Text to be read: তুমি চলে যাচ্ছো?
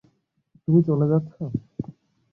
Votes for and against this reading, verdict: 0, 5, rejected